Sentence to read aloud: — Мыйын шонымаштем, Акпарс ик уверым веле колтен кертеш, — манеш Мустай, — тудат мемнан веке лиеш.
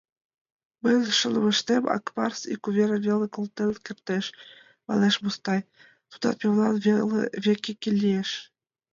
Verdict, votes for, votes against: rejected, 0, 2